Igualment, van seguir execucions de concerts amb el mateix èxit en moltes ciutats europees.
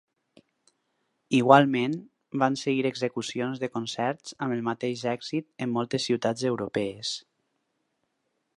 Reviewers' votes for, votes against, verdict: 4, 0, accepted